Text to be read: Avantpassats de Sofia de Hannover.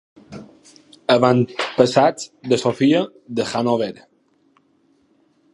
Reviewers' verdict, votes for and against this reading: accepted, 2, 0